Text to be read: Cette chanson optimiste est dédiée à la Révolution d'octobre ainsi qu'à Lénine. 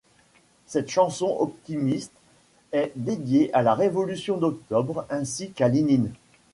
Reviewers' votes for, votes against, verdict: 2, 1, accepted